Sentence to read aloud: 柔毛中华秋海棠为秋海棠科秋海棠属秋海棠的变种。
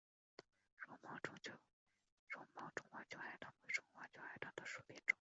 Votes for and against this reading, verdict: 2, 4, rejected